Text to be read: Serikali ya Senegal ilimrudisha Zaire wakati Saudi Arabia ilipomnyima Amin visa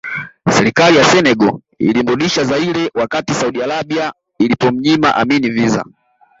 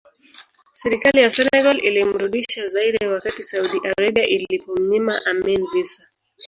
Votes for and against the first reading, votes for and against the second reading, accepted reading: 2, 0, 0, 3, first